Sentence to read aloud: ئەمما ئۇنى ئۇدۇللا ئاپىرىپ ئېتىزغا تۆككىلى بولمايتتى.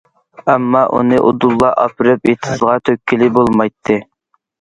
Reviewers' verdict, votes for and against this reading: accepted, 2, 0